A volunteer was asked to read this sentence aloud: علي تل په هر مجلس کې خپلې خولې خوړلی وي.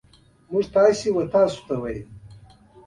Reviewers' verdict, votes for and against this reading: rejected, 0, 2